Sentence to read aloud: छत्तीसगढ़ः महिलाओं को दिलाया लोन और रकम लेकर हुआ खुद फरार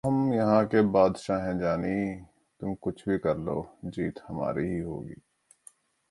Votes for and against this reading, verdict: 0, 2, rejected